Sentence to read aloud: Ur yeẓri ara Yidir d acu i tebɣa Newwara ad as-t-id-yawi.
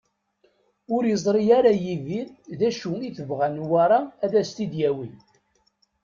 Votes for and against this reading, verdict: 2, 0, accepted